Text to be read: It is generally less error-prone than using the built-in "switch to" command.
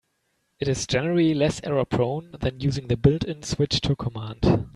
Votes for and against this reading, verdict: 2, 0, accepted